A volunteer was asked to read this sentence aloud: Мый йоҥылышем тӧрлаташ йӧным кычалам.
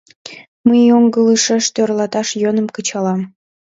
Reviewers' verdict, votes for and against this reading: rejected, 0, 2